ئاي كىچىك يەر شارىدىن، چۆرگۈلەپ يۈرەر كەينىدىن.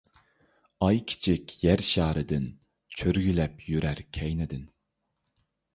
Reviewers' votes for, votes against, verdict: 2, 0, accepted